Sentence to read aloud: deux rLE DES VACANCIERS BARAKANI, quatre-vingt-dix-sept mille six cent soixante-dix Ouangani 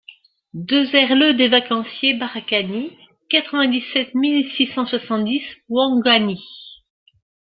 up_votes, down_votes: 1, 2